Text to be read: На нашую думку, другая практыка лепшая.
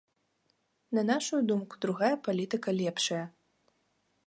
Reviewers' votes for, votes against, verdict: 0, 2, rejected